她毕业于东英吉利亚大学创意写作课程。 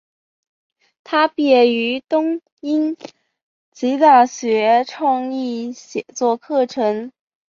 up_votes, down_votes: 6, 4